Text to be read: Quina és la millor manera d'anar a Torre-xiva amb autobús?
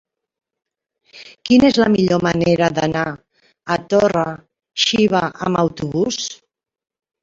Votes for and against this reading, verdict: 1, 2, rejected